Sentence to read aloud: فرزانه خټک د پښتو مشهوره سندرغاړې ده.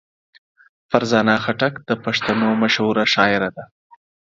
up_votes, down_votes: 0, 4